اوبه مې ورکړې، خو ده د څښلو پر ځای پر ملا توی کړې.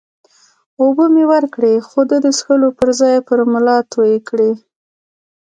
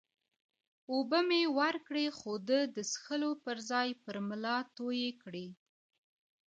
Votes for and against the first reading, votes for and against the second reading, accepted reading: 2, 1, 0, 2, first